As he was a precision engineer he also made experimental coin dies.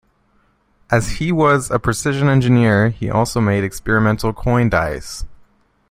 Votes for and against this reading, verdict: 2, 1, accepted